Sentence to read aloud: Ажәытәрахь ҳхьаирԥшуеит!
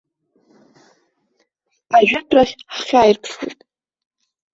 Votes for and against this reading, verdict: 1, 2, rejected